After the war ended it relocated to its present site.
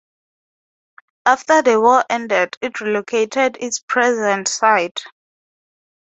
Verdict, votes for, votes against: rejected, 0, 2